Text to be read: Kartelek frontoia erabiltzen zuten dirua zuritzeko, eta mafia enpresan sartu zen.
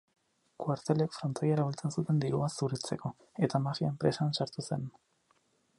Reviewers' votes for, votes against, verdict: 0, 4, rejected